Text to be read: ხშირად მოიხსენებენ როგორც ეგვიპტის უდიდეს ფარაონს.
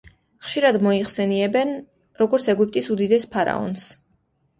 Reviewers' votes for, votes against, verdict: 2, 0, accepted